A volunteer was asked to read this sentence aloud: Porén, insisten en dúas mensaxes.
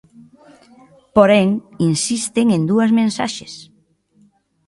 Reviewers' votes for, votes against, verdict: 2, 0, accepted